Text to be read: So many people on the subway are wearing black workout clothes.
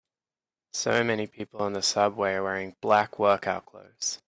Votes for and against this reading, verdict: 2, 0, accepted